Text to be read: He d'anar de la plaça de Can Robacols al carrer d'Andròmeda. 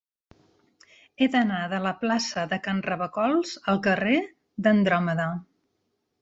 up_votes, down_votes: 2, 0